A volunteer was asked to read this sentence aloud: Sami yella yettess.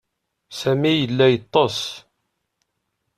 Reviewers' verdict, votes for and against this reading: rejected, 1, 2